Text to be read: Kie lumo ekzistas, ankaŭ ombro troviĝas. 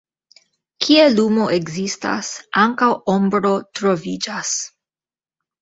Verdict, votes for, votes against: accepted, 2, 0